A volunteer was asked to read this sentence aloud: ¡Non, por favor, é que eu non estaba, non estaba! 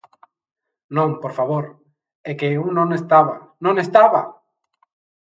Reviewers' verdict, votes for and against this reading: accepted, 2, 1